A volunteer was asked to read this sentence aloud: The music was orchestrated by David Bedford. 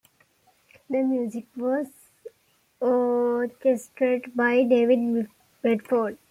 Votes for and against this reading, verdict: 1, 2, rejected